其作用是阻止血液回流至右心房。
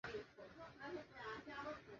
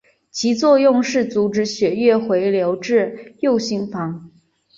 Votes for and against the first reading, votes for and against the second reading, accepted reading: 1, 2, 3, 0, second